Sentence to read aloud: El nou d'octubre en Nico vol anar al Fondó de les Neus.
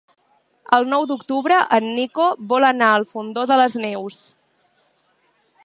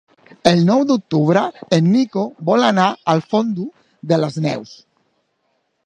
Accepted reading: first